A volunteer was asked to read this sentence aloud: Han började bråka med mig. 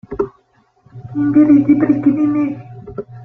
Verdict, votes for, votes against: rejected, 0, 2